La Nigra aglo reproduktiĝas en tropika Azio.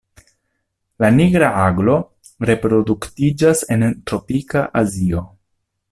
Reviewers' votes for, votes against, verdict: 2, 1, accepted